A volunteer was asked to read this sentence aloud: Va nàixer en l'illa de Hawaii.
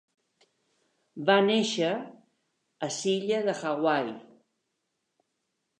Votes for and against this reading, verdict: 0, 2, rejected